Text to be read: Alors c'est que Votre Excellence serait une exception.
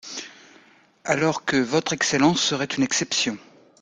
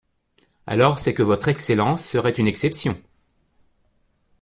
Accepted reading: second